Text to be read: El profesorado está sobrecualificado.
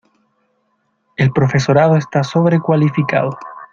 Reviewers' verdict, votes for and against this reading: accepted, 2, 0